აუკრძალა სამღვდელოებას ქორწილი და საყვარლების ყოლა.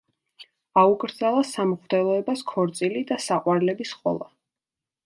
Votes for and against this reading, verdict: 2, 0, accepted